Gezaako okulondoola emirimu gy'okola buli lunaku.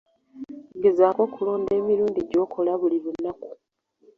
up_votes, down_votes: 1, 2